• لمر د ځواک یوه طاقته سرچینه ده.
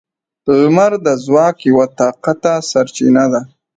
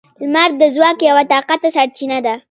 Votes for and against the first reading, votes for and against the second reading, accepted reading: 2, 1, 1, 2, first